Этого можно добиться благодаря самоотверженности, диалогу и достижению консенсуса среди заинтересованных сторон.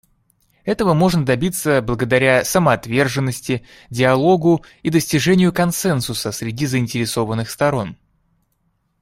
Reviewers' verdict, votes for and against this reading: accepted, 2, 0